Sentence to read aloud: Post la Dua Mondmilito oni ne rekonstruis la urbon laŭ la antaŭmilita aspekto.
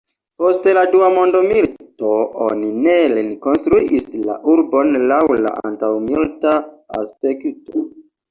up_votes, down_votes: 2, 0